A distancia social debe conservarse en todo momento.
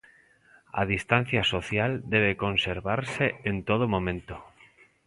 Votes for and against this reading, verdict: 2, 0, accepted